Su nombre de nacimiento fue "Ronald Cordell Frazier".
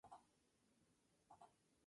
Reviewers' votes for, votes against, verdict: 0, 4, rejected